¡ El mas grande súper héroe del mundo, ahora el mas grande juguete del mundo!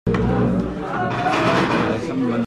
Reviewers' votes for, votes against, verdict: 0, 2, rejected